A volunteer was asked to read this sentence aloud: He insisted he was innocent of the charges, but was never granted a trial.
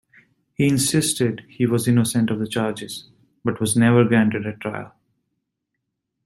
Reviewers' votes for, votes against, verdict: 2, 0, accepted